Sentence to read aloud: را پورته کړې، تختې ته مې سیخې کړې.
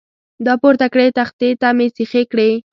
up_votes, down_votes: 2, 0